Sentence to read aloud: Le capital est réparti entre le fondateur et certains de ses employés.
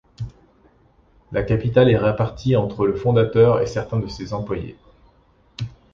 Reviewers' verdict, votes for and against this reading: rejected, 0, 2